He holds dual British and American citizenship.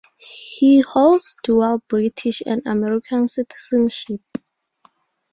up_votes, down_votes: 4, 0